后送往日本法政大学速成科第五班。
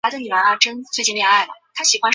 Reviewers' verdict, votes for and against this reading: rejected, 0, 2